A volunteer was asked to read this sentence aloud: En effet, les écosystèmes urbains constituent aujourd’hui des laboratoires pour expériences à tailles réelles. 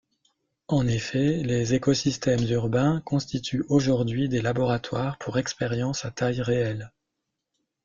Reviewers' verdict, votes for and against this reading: rejected, 1, 2